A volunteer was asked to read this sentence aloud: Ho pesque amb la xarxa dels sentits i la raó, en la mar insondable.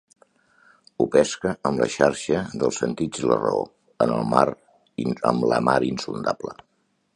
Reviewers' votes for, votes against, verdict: 0, 2, rejected